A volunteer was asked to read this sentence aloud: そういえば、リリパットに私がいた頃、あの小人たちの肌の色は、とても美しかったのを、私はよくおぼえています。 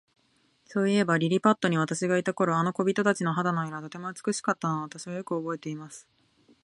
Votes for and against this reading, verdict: 3, 2, accepted